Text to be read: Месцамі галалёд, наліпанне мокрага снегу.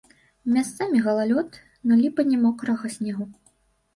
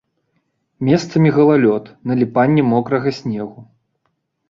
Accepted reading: second